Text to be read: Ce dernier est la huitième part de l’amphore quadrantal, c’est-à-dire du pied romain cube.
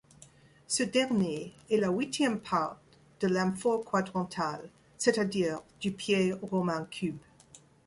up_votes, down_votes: 1, 2